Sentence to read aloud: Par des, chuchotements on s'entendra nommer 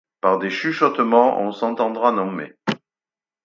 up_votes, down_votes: 4, 0